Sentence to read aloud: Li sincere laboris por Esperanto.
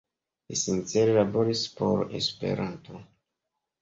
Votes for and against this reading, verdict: 2, 0, accepted